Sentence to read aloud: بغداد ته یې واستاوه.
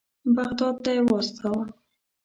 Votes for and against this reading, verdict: 0, 2, rejected